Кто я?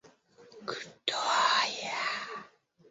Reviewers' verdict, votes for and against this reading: rejected, 1, 2